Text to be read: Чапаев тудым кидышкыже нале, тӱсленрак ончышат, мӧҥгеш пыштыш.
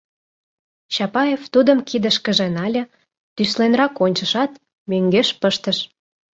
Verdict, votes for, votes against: accepted, 2, 0